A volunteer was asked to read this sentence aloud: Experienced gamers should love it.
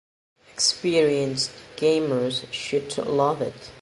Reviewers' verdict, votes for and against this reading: accepted, 2, 0